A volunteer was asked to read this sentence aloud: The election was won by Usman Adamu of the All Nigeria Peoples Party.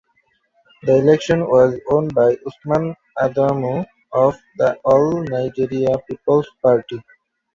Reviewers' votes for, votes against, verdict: 0, 2, rejected